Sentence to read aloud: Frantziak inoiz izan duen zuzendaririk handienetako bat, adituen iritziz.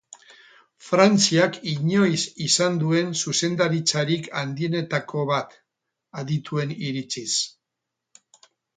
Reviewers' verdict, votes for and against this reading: rejected, 0, 4